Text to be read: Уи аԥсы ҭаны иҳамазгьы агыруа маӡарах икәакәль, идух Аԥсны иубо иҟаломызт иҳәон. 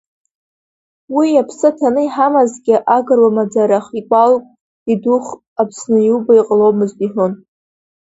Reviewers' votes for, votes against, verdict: 1, 2, rejected